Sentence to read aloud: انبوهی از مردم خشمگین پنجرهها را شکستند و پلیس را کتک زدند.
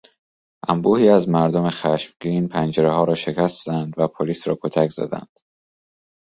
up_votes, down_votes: 2, 0